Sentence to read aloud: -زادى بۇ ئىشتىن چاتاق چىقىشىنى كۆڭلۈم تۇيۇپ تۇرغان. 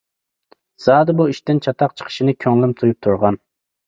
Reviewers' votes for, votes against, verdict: 2, 0, accepted